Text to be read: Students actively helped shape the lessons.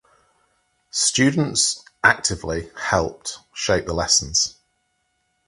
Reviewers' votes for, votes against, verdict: 4, 0, accepted